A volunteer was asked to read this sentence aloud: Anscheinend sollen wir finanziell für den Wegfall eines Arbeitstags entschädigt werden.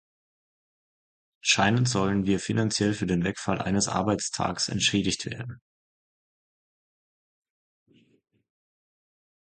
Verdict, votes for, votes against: rejected, 1, 2